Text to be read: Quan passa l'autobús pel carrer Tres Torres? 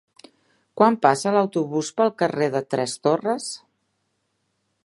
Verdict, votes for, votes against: rejected, 0, 2